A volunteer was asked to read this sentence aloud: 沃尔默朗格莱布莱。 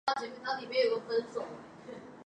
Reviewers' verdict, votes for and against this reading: rejected, 0, 3